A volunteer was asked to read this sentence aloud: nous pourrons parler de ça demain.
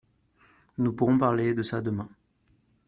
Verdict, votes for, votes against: accepted, 2, 0